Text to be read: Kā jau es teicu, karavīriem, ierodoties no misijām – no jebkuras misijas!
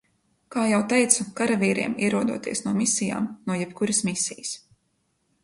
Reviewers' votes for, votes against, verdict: 1, 2, rejected